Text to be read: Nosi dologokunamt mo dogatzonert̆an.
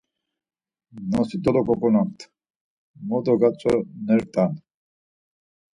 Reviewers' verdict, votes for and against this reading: accepted, 4, 0